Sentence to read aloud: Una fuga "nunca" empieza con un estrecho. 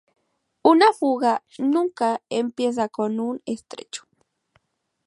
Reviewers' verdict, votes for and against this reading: accepted, 4, 0